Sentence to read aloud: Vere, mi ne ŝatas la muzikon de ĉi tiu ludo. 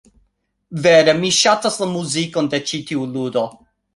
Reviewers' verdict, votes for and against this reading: rejected, 1, 2